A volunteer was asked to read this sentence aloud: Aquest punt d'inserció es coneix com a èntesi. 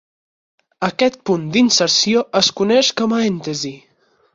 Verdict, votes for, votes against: accepted, 8, 2